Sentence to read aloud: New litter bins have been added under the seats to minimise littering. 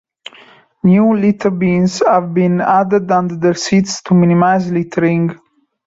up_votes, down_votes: 2, 0